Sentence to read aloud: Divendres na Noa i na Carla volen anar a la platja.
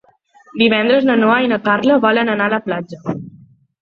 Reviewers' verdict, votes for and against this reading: accepted, 4, 0